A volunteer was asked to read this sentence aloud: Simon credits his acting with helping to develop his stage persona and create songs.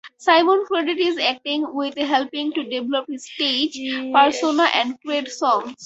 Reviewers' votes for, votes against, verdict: 0, 4, rejected